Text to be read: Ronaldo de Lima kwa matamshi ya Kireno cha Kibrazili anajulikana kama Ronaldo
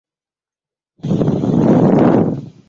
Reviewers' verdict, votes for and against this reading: rejected, 0, 2